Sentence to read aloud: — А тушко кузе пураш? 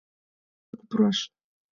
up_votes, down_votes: 1, 5